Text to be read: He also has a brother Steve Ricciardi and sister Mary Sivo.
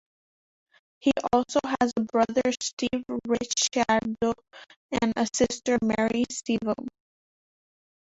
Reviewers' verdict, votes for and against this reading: rejected, 0, 3